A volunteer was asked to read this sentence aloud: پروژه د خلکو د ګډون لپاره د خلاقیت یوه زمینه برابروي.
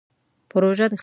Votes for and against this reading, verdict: 0, 2, rejected